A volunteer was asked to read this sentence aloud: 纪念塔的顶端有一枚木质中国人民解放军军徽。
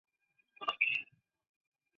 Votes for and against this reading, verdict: 0, 2, rejected